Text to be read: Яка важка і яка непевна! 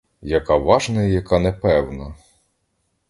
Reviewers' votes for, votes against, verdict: 0, 2, rejected